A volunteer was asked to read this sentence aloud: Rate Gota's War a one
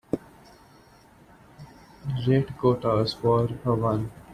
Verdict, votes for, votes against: accepted, 2, 0